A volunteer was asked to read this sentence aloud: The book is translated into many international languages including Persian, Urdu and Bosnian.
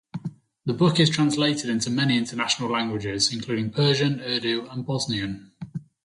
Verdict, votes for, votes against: rejected, 0, 2